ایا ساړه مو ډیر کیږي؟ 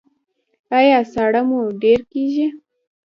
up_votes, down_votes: 1, 2